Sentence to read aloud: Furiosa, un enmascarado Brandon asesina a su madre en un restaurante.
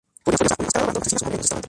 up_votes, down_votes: 0, 2